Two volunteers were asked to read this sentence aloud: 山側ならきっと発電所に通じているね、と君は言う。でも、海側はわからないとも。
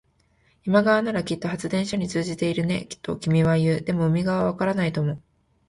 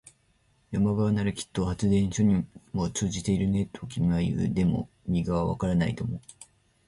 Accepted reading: first